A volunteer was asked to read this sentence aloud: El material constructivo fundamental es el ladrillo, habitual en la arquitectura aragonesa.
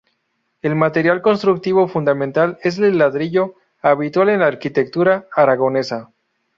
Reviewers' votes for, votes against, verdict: 2, 0, accepted